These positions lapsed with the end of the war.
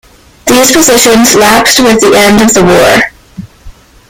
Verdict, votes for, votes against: rejected, 0, 2